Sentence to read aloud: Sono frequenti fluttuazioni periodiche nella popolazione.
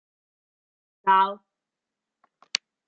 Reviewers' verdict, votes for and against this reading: rejected, 0, 2